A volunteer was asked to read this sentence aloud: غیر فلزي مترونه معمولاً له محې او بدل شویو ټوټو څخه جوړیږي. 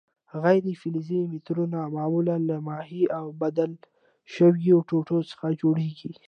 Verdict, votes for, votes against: accepted, 2, 0